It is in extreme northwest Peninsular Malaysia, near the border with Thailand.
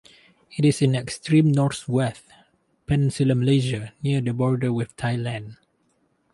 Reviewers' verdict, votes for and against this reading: rejected, 0, 2